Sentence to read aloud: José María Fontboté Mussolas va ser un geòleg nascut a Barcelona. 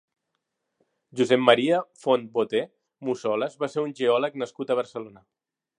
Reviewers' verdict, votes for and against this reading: rejected, 1, 2